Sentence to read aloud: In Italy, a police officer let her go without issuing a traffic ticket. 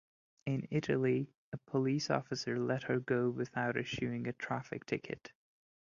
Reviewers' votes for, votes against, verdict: 2, 0, accepted